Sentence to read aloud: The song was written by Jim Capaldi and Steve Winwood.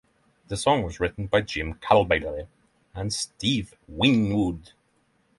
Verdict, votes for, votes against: rejected, 0, 3